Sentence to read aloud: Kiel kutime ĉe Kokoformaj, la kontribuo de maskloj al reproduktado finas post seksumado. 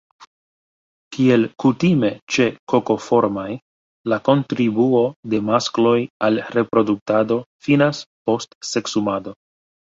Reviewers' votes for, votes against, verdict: 2, 0, accepted